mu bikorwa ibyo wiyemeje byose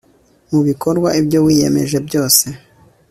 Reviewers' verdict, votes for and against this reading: accepted, 2, 0